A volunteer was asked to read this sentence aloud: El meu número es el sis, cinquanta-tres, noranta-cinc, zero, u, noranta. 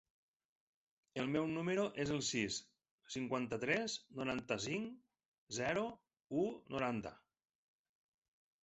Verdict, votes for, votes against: accepted, 3, 0